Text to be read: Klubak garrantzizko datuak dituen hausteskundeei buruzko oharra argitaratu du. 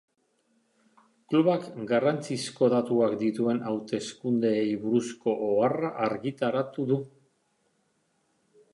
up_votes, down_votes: 3, 0